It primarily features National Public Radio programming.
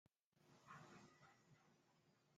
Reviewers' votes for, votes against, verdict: 0, 2, rejected